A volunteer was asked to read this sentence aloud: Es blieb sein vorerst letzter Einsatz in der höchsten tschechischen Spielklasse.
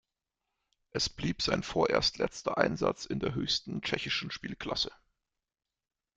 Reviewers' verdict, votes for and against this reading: accepted, 2, 0